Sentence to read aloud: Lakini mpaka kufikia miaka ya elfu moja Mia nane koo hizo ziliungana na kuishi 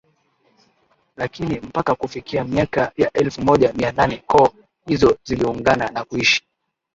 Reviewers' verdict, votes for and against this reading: accepted, 9, 2